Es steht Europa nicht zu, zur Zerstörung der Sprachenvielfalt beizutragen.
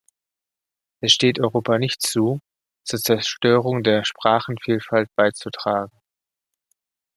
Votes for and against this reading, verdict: 2, 0, accepted